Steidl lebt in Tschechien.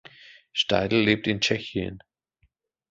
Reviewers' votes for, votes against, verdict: 2, 0, accepted